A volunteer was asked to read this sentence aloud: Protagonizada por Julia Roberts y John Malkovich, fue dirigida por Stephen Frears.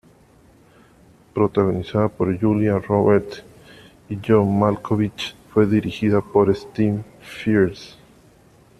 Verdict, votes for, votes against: rejected, 0, 2